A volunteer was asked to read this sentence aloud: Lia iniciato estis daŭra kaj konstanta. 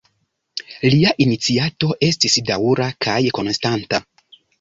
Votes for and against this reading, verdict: 0, 2, rejected